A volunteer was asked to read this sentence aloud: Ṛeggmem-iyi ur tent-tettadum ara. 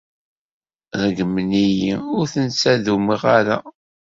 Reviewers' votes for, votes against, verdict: 0, 2, rejected